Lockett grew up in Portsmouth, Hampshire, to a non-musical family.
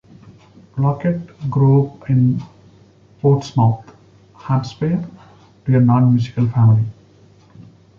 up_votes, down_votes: 1, 2